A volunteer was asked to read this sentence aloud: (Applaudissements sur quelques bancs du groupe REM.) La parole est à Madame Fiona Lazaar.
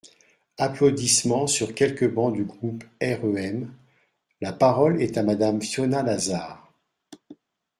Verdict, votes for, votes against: accepted, 2, 0